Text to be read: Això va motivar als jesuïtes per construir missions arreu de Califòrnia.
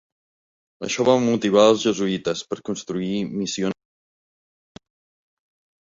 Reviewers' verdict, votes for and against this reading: rejected, 0, 2